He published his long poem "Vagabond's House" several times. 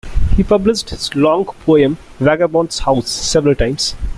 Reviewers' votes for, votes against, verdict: 1, 2, rejected